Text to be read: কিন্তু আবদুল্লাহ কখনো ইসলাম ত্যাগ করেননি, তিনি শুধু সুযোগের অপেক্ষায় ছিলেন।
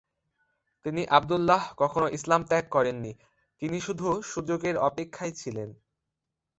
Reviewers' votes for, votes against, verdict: 1, 2, rejected